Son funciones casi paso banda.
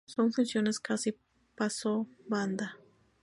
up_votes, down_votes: 2, 2